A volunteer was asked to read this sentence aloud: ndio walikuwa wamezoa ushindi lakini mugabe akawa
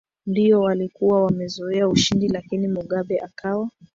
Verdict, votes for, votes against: rejected, 0, 2